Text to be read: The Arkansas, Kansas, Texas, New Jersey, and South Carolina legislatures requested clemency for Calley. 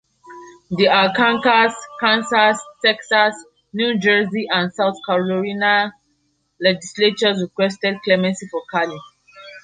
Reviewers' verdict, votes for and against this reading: rejected, 0, 2